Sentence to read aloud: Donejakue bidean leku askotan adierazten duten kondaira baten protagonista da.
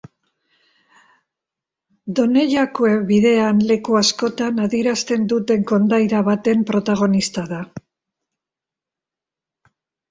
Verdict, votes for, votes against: accepted, 2, 0